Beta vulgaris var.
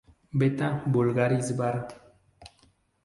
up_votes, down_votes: 2, 0